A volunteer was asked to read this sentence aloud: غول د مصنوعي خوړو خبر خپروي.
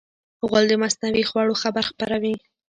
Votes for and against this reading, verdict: 0, 2, rejected